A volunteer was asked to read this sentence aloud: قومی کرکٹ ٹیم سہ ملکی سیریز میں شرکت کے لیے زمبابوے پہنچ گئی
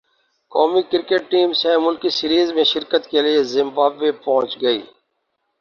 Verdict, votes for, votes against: accepted, 2, 0